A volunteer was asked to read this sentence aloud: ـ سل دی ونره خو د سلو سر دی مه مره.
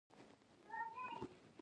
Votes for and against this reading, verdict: 2, 3, rejected